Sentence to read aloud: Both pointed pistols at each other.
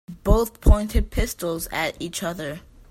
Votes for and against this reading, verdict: 2, 0, accepted